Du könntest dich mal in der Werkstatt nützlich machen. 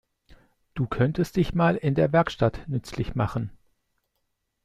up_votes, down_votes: 2, 0